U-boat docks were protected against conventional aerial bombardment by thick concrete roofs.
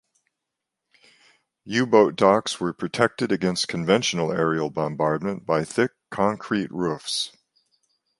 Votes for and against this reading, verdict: 2, 0, accepted